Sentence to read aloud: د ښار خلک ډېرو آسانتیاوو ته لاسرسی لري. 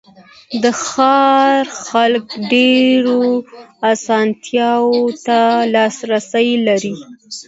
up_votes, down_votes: 2, 0